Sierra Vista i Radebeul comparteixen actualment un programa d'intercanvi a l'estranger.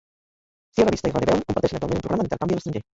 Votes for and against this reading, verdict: 0, 3, rejected